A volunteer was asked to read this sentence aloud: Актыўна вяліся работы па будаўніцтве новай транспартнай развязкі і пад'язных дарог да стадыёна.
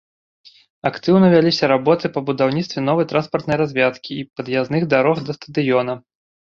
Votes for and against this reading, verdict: 1, 2, rejected